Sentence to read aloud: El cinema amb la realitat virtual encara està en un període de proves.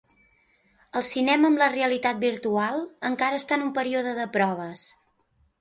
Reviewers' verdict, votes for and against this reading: accepted, 2, 0